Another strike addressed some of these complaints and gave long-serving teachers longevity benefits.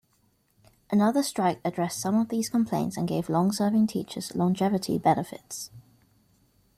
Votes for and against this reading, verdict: 2, 0, accepted